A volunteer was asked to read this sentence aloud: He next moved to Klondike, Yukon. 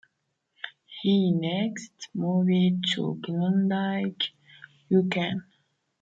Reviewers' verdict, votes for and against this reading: rejected, 0, 2